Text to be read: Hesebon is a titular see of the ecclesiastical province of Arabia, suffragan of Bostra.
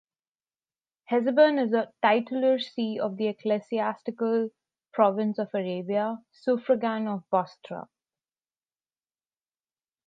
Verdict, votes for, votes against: accepted, 2, 0